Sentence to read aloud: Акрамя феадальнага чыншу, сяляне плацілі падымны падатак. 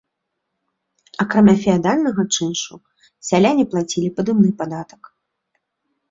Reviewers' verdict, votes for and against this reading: rejected, 1, 2